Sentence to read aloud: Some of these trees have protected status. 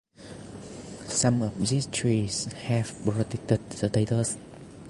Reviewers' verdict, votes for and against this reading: rejected, 0, 2